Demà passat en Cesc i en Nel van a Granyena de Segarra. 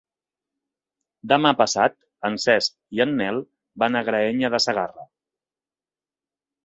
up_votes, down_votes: 0, 3